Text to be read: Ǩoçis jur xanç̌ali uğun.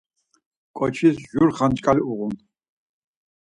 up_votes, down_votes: 2, 4